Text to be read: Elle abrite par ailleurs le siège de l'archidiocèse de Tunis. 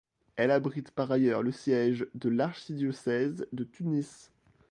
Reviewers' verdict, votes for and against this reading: accepted, 2, 0